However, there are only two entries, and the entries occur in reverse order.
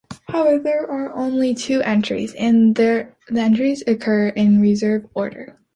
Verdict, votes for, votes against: rejected, 0, 2